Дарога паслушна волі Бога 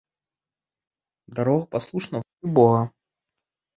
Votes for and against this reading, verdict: 0, 2, rejected